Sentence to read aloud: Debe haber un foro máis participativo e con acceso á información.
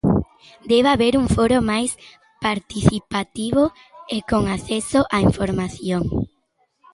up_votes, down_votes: 2, 0